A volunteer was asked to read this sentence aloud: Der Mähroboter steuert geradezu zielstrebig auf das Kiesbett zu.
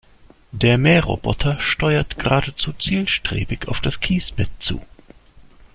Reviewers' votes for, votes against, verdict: 2, 0, accepted